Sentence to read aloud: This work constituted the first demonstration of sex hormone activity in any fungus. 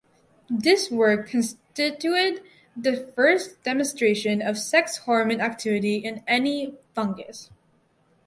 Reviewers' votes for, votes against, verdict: 0, 2, rejected